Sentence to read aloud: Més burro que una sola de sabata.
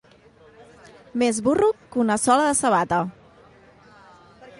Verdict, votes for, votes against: accepted, 2, 0